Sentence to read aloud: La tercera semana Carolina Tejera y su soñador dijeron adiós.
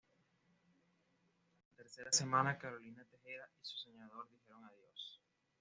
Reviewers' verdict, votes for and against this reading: rejected, 0, 2